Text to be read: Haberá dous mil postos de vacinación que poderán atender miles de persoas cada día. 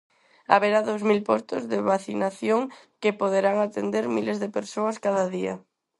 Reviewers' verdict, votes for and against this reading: accepted, 4, 0